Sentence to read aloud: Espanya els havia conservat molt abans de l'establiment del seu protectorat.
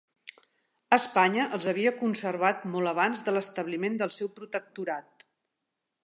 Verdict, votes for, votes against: accepted, 6, 0